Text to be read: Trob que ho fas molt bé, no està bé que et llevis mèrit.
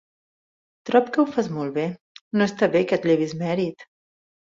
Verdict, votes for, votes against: accepted, 2, 0